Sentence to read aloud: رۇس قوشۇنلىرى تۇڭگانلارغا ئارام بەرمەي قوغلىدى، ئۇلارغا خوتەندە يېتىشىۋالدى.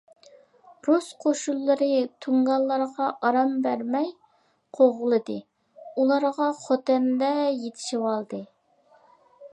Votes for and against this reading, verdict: 2, 0, accepted